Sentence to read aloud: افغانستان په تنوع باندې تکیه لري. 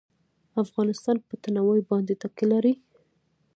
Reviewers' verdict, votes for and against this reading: accepted, 2, 1